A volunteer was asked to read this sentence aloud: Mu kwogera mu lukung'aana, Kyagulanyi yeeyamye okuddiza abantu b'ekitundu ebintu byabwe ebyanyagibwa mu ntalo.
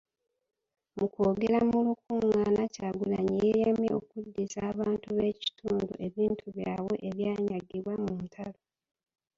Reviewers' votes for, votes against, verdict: 0, 2, rejected